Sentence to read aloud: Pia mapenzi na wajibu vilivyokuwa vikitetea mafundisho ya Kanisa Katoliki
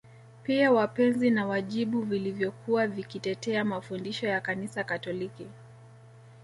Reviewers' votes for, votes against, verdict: 1, 2, rejected